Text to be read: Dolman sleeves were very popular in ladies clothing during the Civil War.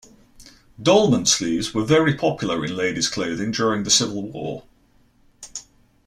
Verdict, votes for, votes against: accepted, 2, 0